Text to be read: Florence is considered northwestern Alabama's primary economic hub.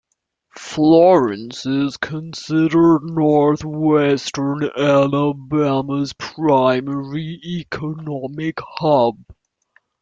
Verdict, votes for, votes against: accepted, 2, 0